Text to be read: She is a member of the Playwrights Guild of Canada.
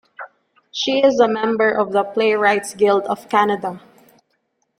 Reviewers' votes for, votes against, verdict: 2, 0, accepted